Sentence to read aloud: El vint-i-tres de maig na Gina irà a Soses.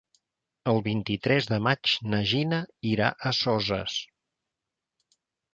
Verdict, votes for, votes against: accepted, 4, 0